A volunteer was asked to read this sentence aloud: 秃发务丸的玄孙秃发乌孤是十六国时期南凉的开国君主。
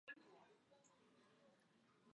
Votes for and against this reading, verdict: 0, 4, rejected